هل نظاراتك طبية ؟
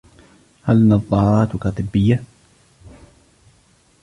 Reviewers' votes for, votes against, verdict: 2, 0, accepted